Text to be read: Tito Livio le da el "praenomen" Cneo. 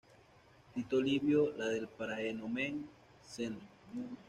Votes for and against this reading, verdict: 1, 2, rejected